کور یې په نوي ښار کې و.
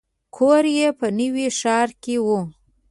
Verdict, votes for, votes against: accepted, 2, 0